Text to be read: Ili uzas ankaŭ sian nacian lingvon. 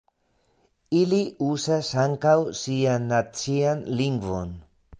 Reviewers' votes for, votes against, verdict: 1, 2, rejected